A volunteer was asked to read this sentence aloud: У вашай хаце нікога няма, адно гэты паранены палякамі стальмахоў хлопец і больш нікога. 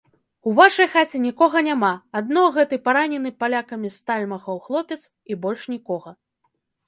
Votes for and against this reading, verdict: 0, 2, rejected